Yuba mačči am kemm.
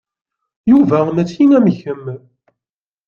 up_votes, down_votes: 2, 0